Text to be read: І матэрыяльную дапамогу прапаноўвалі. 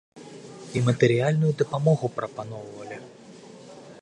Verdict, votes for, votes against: accepted, 2, 0